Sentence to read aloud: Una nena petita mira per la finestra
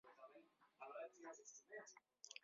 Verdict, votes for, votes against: rejected, 0, 2